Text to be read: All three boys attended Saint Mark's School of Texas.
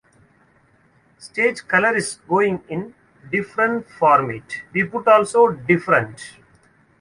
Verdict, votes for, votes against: rejected, 0, 2